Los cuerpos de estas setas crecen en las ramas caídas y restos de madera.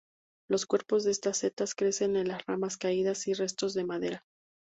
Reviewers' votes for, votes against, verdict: 2, 0, accepted